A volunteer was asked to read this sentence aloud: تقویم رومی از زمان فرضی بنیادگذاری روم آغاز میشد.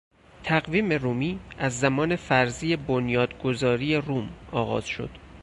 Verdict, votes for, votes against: rejected, 2, 4